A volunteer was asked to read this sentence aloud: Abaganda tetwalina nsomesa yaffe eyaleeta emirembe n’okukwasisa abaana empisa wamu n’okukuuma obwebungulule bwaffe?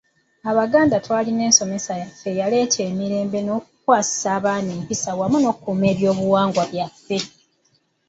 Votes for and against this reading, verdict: 1, 2, rejected